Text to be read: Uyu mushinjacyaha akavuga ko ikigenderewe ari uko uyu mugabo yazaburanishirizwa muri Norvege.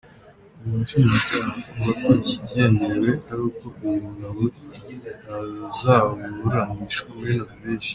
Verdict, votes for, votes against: rejected, 0, 4